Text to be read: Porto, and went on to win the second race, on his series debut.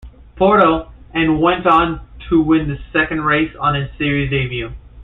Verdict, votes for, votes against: accepted, 2, 0